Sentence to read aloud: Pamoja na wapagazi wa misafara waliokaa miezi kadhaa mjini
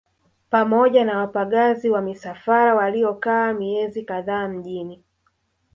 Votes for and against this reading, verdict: 0, 2, rejected